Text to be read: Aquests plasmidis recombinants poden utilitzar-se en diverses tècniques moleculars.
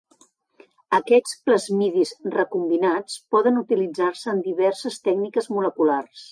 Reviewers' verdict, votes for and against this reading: rejected, 1, 2